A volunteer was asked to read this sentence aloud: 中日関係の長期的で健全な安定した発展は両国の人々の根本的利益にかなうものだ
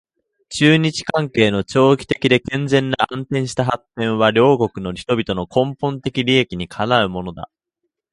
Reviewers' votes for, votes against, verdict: 2, 1, accepted